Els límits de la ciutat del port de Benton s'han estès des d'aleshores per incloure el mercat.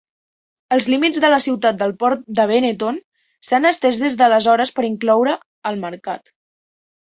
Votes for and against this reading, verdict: 2, 3, rejected